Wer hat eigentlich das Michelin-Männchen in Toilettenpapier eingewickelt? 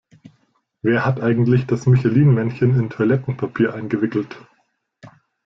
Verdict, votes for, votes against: accepted, 2, 0